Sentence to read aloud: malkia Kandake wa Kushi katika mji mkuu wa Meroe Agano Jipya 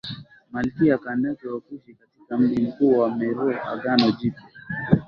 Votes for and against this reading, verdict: 2, 1, accepted